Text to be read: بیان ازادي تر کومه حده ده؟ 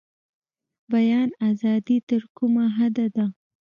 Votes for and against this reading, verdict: 1, 2, rejected